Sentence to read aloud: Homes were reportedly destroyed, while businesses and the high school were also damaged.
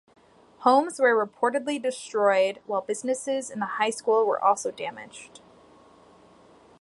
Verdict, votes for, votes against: accepted, 2, 0